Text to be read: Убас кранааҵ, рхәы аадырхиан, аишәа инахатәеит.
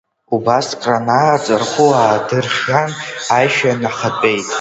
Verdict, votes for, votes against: accepted, 2, 0